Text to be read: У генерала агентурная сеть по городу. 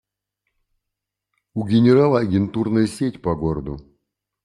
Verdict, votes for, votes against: accepted, 2, 0